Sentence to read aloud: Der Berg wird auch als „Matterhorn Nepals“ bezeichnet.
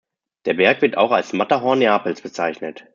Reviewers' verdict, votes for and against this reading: rejected, 0, 2